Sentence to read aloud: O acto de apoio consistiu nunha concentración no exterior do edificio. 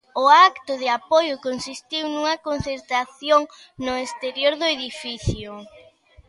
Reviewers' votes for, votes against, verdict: 2, 0, accepted